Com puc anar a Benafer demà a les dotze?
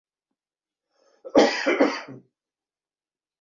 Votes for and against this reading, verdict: 0, 2, rejected